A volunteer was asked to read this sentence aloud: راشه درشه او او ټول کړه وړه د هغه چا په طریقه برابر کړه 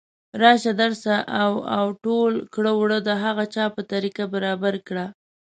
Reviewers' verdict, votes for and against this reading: rejected, 0, 2